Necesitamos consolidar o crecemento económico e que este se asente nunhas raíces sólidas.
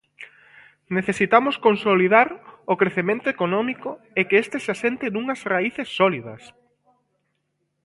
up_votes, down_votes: 2, 0